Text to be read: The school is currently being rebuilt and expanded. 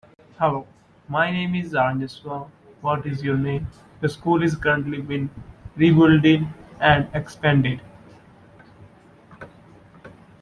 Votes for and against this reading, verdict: 0, 2, rejected